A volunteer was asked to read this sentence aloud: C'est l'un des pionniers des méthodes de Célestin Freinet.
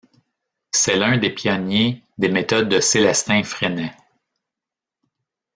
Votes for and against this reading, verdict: 0, 2, rejected